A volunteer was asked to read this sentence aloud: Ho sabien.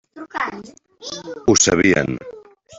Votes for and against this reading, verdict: 0, 3, rejected